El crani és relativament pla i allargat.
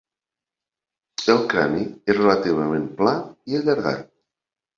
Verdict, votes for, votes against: accepted, 2, 0